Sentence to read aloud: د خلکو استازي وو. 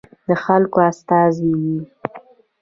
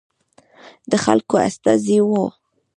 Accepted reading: first